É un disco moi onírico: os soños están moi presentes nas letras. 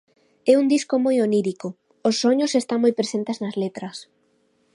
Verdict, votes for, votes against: accepted, 2, 0